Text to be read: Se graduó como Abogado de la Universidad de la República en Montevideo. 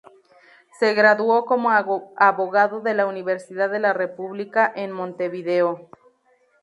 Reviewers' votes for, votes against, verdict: 0, 2, rejected